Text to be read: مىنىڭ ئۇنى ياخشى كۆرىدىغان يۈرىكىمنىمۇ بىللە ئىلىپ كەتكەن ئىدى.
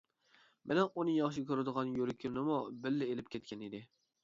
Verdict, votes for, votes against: accepted, 2, 0